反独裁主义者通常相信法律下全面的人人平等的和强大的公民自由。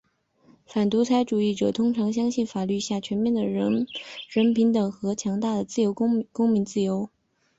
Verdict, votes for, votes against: rejected, 2, 3